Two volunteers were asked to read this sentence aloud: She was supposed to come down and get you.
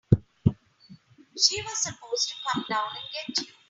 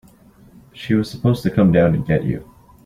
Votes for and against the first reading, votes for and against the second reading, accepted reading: 2, 3, 2, 0, second